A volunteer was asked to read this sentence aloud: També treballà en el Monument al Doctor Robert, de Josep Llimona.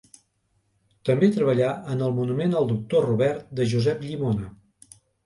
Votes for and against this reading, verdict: 2, 0, accepted